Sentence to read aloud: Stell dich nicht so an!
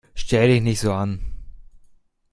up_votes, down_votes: 2, 0